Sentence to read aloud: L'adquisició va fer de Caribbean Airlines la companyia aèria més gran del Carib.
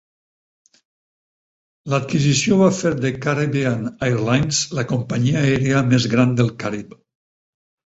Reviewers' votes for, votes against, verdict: 4, 0, accepted